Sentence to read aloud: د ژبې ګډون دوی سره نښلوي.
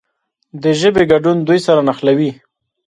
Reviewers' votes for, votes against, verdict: 1, 2, rejected